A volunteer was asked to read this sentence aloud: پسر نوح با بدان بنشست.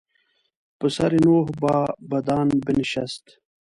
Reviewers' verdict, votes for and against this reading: rejected, 1, 2